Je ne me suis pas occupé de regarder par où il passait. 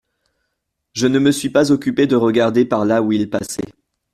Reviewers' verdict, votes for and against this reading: rejected, 0, 2